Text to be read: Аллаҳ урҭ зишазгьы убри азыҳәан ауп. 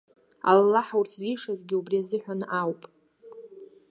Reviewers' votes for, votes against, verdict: 2, 0, accepted